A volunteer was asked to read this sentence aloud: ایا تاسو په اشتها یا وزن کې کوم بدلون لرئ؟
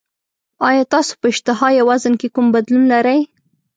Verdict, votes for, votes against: accepted, 2, 0